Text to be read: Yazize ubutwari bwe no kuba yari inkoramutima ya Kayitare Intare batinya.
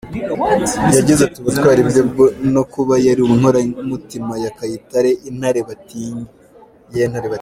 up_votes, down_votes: 1, 2